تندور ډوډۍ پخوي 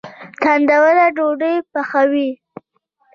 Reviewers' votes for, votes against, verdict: 1, 2, rejected